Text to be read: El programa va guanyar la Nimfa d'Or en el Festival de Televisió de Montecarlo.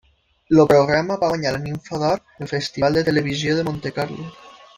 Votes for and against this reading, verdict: 0, 2, rejected